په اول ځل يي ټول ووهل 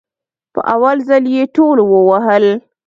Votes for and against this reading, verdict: 2, 0, accepted